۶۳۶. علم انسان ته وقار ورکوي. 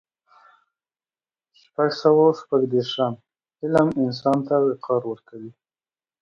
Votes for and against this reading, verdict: 0, 2, rejected